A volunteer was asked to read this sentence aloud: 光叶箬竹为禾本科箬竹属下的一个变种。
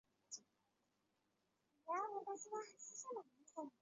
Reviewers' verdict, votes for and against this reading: rejected, 0, 2